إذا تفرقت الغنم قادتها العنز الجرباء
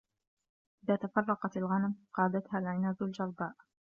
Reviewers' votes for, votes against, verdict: 2, 1, accepted